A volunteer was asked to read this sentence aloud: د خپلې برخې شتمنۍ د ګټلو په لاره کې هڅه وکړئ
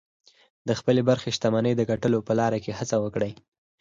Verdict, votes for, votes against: accepted, 4, 0